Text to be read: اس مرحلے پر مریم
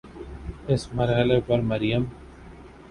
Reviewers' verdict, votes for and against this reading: accepted, 11, 0